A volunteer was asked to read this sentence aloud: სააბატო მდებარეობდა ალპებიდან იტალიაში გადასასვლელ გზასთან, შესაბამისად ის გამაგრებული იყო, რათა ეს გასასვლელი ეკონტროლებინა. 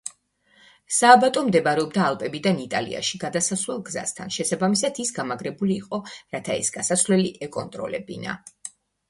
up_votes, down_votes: 1, 2